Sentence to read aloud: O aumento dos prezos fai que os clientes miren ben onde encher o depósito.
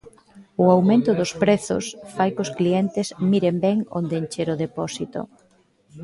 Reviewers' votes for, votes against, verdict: 1, 2, rejected